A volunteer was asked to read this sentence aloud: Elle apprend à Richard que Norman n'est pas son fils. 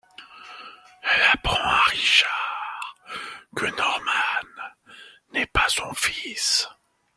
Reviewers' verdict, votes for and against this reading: accepted, 2, 1